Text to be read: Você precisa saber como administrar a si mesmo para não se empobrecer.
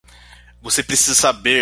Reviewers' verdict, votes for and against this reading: rejected, 0, 2